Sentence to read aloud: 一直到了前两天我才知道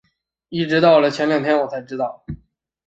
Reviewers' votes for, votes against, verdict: 2, 0, accepted